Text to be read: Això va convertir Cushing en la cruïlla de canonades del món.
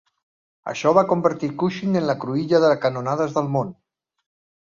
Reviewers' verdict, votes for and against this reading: rejected, 1, 2